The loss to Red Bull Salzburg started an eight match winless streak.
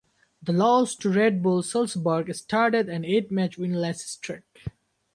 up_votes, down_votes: 0, 2